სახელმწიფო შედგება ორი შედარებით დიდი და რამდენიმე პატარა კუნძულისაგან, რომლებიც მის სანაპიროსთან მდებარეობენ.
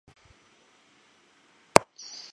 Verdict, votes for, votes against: rejected, 0, 2